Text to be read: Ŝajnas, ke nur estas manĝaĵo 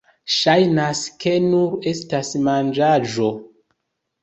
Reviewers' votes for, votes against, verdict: 2, 0, accepted